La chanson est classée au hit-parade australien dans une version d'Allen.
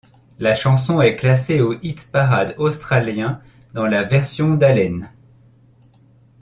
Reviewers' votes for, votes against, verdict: 1, 2, rejected